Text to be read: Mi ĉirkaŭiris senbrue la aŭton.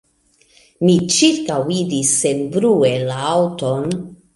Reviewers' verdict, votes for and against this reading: rejected, 1, 2